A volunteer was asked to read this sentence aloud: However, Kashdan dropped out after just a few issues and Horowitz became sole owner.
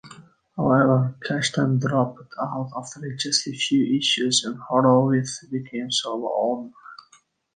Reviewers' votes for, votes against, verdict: 0, 3, rejected